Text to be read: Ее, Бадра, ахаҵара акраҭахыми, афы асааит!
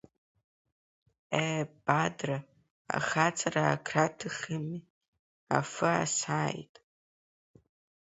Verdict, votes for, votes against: rejected, 1, 4